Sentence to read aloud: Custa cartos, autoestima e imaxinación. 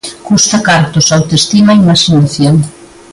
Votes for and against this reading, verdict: 2, 0, accepted